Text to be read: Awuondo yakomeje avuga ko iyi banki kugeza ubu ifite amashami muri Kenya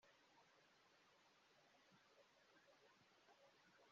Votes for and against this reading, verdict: 0, 2, rejected